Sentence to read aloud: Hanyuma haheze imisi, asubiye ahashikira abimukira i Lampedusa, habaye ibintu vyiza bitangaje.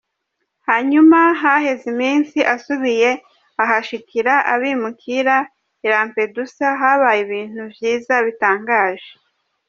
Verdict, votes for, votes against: rejected, 0, 2